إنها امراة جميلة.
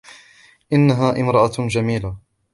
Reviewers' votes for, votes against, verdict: 1, 2, rejected